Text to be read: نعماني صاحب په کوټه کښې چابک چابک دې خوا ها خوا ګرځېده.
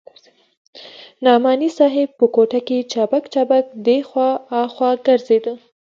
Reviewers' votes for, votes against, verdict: 2, 3, rejected